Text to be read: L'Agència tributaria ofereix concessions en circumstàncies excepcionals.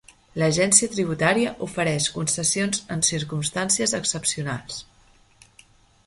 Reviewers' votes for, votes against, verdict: 7, 0, accepted